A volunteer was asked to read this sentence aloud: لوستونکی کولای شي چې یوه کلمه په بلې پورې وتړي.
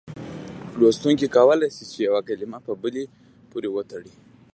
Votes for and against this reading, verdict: 2, 0, accepted